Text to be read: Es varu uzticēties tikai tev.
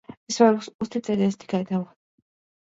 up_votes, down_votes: 0, 2